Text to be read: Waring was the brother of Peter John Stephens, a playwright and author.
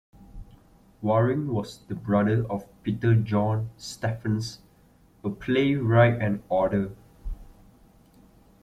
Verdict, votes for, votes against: accepted, 2, 1